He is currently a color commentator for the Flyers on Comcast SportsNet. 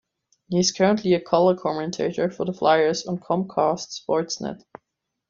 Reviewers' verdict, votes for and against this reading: accepted, 2, 0